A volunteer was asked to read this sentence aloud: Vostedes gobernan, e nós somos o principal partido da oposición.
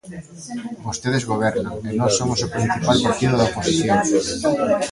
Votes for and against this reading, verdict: 1, 2, rejected